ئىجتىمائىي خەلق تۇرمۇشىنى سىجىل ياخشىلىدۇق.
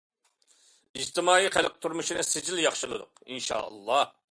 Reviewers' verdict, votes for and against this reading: rejected, 0, 2